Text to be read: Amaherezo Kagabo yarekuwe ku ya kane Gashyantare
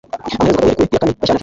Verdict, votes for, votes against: rejected, 0, 2